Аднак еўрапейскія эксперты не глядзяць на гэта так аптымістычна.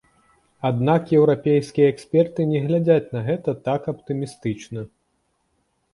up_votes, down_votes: 2, 0